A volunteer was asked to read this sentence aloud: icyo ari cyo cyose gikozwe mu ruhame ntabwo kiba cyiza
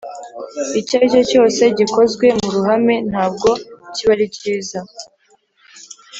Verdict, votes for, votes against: rejected, 1, 2